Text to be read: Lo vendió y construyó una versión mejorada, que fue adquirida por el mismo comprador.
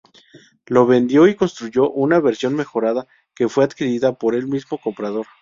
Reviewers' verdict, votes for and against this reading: rejected, 2, 2